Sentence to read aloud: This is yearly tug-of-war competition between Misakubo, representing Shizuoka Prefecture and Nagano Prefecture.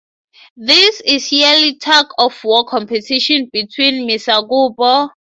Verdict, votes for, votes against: rejected, 0, 3